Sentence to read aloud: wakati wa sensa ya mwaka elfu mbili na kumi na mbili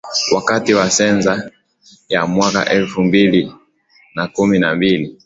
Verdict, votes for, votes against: accepted, 21, 2